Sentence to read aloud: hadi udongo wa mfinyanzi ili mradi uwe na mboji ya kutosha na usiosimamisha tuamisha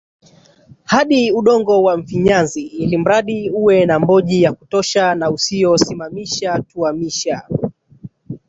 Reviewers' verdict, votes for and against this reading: rejected, 1, 2